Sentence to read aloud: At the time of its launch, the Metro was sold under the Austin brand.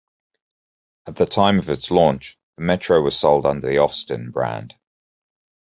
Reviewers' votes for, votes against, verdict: 2, 0, accepted